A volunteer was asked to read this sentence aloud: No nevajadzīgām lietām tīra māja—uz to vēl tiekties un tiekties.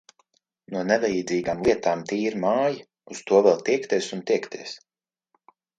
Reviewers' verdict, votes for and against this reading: accepted, 2, 0